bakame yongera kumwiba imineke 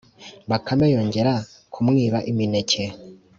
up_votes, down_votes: 2, 0